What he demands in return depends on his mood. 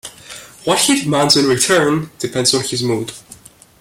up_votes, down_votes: 2, 0